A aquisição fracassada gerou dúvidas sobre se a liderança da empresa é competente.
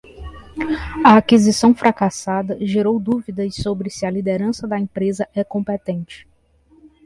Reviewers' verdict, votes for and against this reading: accepted, 2, 0